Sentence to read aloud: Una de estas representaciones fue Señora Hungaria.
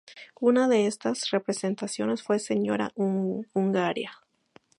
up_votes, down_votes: 0, 4